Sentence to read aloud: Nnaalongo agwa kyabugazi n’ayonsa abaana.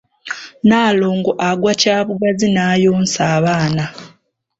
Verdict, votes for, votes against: rejected, 0, 2